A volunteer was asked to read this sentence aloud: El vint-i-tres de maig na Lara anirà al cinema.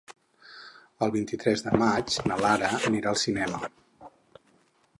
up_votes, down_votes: 2, 4